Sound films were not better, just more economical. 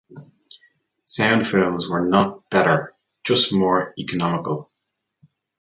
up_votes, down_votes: 2, 0